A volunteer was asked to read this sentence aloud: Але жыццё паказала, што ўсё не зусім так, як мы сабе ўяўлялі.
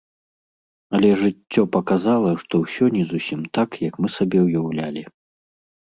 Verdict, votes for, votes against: accepted, 3, 0